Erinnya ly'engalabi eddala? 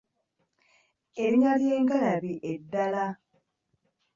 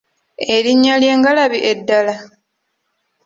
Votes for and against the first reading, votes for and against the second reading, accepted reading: 1, 2, 2, 0, second